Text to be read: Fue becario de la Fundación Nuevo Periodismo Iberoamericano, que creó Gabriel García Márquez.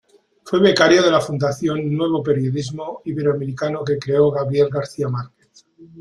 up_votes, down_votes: 2, 0